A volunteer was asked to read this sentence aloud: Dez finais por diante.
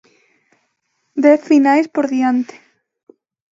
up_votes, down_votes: 2, 0